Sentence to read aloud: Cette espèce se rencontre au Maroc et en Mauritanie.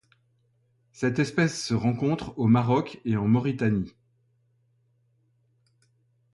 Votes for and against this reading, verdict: 2, 0, accepted